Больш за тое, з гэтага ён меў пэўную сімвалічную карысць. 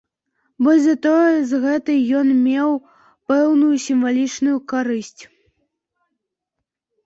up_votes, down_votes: 1, 2